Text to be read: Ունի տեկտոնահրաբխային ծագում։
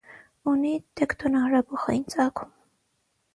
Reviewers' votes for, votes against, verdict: 0, 3, rejected